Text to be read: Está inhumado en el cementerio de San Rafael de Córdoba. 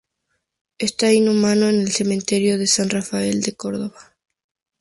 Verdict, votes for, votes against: rejected, 0, 2